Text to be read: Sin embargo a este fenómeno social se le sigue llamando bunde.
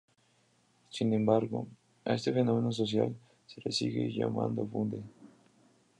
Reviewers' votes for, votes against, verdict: 2, 0, accepted